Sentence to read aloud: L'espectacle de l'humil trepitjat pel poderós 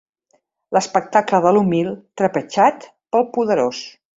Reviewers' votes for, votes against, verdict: 0, 3, rejected